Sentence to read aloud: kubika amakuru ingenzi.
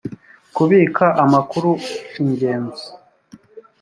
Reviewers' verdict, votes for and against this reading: accepted, 2, 0